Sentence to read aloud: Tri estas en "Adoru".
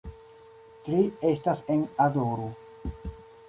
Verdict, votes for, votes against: accepted, 2, 0